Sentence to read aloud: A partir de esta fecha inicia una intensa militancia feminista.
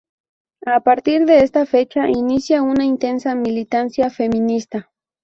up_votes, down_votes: 2, 2